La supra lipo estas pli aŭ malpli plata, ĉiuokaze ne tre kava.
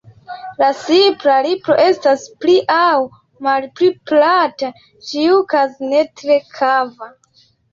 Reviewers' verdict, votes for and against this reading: accepted, 2, 1